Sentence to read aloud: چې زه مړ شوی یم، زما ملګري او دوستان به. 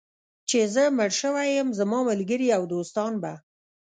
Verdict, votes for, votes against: rejected, 1, 2